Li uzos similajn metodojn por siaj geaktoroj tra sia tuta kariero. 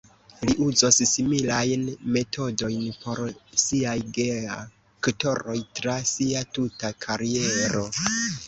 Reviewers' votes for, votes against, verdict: 0, 2, rejected